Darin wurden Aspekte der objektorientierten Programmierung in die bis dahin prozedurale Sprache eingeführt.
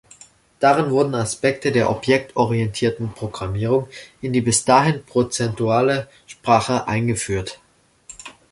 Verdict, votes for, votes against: rejected, 0, 2